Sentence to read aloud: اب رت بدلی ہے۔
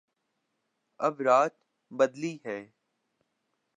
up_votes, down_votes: 0, 3